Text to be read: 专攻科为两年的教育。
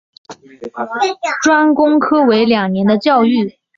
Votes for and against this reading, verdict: 5, 0, accepted